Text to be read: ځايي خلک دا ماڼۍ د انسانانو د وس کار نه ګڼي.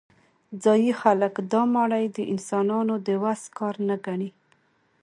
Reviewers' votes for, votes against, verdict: 2, 0, accepted